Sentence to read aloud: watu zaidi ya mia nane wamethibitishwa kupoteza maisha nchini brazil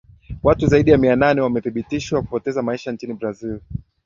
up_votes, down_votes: 2, 0